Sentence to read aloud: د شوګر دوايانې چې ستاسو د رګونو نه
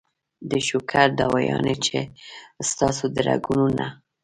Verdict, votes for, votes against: rejected, 0, 2